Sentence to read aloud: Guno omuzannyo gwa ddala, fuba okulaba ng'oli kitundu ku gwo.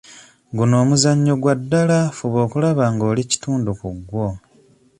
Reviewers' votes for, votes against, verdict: 2, 1, accepted